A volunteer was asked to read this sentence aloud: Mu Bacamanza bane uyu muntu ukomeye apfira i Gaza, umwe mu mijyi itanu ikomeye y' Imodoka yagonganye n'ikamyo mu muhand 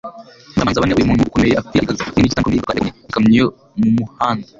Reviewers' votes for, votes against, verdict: 0, 2, rejected